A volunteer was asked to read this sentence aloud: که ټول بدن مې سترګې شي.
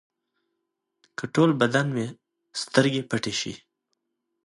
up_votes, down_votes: 2, 0